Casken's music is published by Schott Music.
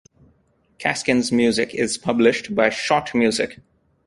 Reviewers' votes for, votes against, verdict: 2, 0, accepted